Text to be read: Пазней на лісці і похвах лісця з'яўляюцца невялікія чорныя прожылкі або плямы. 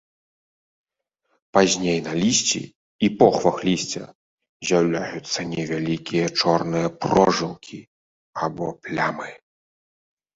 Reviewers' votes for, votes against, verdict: 2, 0, accepted